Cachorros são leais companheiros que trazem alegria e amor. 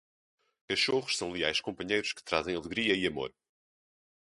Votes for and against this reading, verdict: 2, 0, accepted